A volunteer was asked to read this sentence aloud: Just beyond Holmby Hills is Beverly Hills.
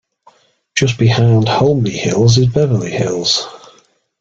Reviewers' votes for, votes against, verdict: 1, 2, rejected